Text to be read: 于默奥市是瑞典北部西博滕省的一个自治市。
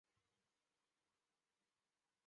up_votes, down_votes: 0, 3